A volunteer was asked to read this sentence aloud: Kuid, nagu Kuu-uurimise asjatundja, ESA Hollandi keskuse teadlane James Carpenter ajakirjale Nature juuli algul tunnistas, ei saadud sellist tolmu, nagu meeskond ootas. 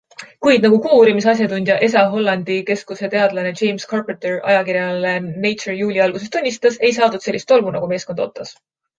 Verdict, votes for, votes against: accepted, 2, 0